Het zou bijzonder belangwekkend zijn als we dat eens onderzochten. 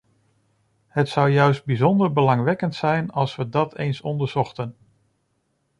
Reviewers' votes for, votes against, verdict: 0, 2, rejected